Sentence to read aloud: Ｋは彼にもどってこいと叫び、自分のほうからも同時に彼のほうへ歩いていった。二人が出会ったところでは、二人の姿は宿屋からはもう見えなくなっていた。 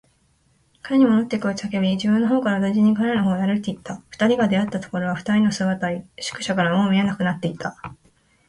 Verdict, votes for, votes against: rejected, 0, 2